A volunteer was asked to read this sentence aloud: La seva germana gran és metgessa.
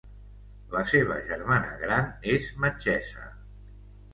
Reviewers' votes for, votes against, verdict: 2, 0, accepted